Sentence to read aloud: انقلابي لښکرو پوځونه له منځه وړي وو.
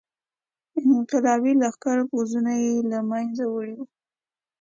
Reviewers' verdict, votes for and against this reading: accepted, 3, 1